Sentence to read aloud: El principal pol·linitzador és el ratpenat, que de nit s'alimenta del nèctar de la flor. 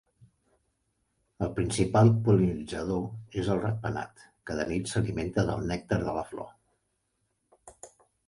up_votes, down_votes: 2, 0